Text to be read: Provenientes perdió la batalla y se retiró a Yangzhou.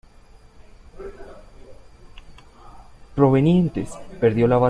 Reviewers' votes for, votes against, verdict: 1, 2, rejected